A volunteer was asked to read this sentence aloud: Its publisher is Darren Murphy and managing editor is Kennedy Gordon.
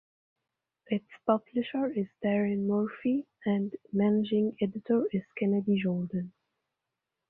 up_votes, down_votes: 2, 1